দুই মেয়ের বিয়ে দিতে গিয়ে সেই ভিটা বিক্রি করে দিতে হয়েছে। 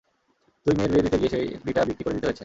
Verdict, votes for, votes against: accepted, 2, 1